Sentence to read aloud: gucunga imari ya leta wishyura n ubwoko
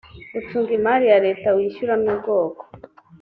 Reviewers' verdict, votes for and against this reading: accepted, 2, 0